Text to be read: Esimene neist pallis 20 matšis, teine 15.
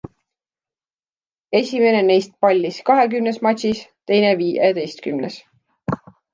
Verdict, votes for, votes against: rejected, 0, 2